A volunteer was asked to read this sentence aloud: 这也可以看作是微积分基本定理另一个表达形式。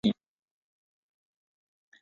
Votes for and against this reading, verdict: 0, 2, rejected